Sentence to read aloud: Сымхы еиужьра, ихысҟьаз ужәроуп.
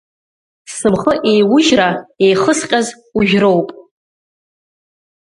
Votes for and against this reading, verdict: 1, 2, rejected